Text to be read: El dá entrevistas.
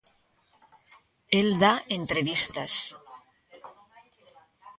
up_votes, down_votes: 1, 2